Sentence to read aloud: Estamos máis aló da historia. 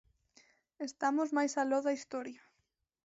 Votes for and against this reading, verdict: 0, 2, rejected